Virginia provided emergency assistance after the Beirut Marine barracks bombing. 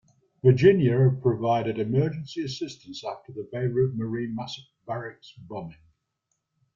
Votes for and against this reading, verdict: 1, 2, rejected